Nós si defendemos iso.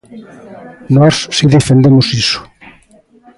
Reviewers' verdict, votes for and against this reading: accepted, 2, 0